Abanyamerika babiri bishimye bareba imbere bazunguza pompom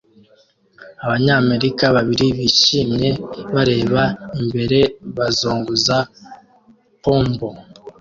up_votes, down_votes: 2, 0